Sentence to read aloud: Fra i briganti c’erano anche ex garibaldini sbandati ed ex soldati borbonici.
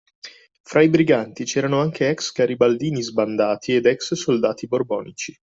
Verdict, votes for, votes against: accepted, 2, 0